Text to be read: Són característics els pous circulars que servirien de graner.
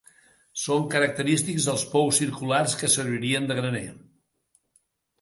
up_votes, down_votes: 2, 0